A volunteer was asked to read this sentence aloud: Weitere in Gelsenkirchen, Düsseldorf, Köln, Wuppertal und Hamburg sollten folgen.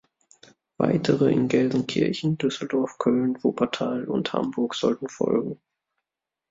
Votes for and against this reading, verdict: 2, 0, accepted